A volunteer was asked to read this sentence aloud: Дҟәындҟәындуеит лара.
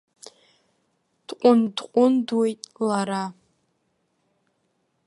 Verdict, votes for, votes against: accepted, 2, 1